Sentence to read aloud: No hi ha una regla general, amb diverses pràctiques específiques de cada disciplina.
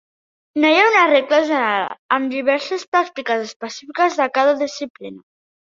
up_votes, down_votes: 0, 2